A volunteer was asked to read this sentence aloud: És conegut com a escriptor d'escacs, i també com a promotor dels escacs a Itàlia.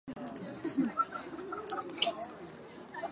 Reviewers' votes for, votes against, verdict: 0, 4, rejected